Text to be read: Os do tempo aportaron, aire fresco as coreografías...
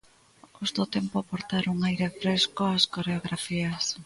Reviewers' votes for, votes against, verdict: 1, 2, rejected